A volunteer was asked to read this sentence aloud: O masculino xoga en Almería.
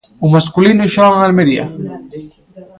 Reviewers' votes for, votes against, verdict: 1, 2, rejected